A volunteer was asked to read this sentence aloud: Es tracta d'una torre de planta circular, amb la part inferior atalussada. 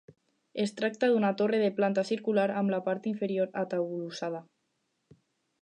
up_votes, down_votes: 2, 4